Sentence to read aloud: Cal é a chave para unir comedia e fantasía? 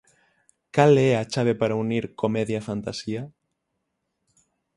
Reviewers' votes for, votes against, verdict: 6, 0, accepted